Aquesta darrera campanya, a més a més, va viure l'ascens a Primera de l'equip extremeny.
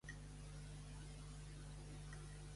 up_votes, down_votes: 0, 2